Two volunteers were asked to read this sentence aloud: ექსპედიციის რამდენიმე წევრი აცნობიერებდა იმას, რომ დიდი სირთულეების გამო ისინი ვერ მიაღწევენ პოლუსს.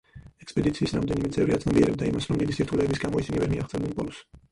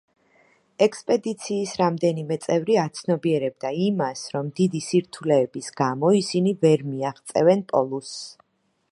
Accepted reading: second